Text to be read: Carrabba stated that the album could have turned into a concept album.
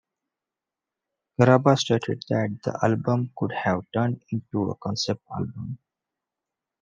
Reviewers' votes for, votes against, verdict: 1, 2, rejected